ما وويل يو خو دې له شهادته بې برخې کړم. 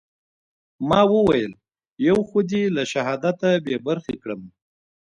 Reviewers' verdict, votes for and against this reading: rejected, 1, 2